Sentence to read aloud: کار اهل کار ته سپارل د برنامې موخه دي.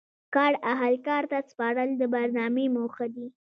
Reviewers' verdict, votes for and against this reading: accepted, 2, 0